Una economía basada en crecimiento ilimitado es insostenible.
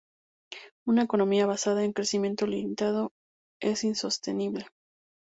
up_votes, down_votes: 2, 4